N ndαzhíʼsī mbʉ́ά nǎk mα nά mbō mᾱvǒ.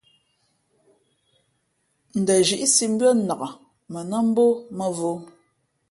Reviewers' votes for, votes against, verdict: 3, 0, accepted